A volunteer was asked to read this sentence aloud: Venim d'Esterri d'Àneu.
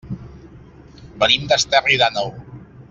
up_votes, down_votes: 2, 0